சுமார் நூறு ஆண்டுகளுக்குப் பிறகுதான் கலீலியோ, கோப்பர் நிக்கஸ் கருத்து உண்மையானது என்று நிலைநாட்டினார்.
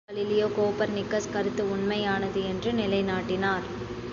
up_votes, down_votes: 2, 3